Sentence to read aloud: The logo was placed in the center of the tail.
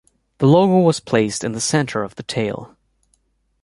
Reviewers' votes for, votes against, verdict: 2, 1, accepted